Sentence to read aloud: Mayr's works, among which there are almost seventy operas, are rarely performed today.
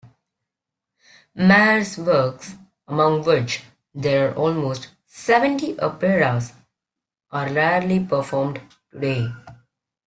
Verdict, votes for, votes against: rejected, 0, 2